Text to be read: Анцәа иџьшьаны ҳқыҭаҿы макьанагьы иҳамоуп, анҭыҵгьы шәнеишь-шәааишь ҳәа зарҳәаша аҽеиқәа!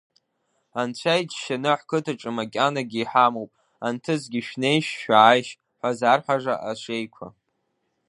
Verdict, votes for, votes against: accepted, 2, 0